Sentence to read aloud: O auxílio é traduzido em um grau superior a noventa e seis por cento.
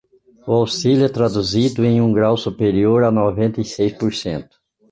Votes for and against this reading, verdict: 2, 0, accepted